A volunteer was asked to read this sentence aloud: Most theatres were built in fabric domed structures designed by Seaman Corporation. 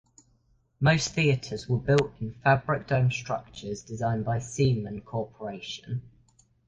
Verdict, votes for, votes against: accepted, 2, 0